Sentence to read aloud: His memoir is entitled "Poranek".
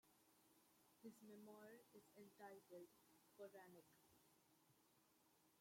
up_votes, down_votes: 0, 2